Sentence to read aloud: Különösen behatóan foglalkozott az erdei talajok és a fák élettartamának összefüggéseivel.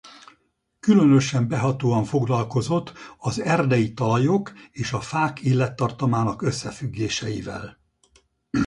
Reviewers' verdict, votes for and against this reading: rejected, 2, 2